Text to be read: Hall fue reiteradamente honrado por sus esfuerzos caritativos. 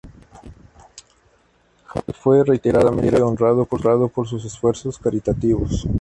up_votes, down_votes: 0, 2